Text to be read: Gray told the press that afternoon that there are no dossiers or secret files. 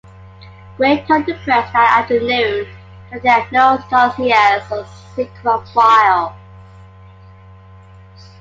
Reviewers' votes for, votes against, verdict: 1, 2, rejected